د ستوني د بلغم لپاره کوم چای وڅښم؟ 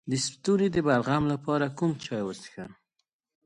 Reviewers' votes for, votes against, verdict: 2, 0, accepted